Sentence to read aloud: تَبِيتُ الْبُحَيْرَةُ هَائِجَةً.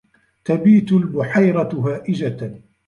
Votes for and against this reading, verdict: 2, 0, accepted